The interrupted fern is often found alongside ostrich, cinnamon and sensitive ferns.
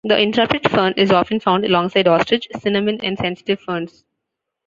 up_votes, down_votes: 2, 0